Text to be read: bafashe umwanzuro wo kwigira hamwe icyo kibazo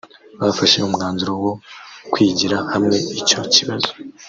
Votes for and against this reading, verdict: 1, 2, rejected